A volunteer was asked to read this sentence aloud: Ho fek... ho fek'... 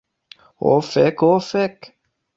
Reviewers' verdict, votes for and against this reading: accepted, 2, 0